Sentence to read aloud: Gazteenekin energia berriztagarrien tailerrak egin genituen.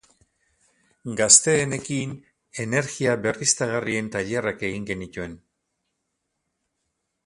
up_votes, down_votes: 0, 2